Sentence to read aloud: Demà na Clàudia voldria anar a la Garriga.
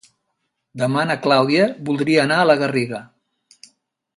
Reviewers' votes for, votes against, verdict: 2, 0, accepted